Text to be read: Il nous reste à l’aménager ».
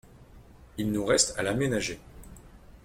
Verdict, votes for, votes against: accepted, 2, 0